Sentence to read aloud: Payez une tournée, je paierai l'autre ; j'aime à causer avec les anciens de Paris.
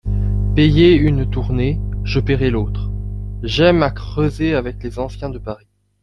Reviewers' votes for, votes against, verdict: 0, 2, rejected